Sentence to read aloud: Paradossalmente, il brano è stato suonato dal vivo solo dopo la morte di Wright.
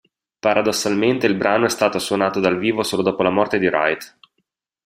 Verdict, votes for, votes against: accepted, 2, 0